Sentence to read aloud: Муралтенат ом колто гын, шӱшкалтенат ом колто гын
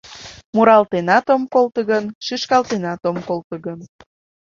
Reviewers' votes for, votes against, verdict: 3, 0, accepted